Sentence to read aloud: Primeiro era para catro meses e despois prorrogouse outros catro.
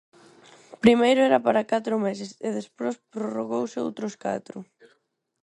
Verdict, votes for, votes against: rejected, 2, 4